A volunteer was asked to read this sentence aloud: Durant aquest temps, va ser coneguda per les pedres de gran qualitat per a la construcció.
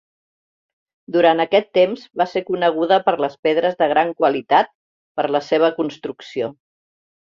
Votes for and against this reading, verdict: 0, 2, rejected